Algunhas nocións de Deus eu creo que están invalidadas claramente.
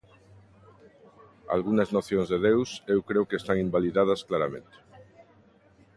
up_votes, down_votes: 1, 2